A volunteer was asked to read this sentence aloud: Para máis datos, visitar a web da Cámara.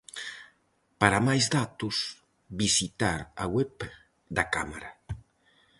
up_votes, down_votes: 4, 0